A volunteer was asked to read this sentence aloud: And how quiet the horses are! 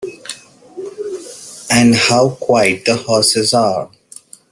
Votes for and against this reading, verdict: 2, 0, accepted